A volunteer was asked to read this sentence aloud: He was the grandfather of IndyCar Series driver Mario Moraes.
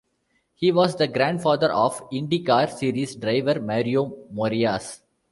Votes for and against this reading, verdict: 1, 2, rejected